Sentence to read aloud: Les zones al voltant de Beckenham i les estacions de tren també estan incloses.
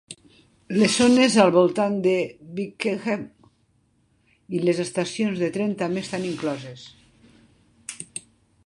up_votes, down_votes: 1, 2